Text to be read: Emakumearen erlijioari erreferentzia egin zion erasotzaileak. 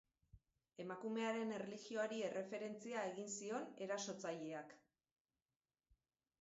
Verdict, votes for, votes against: rejected, 0, 2